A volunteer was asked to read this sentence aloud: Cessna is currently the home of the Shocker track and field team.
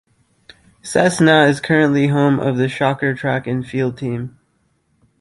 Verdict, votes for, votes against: rejected, 1, 2